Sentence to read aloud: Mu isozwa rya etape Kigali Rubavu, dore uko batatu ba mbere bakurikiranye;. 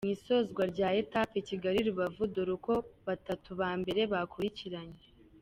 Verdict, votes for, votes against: accepted, 3, 0